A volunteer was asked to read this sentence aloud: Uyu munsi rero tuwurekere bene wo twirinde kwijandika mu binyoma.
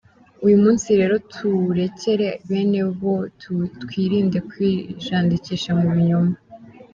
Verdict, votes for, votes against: accepted, 2, 1